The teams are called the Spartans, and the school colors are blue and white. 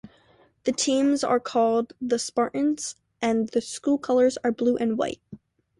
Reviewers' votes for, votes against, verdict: 2, 0, accepted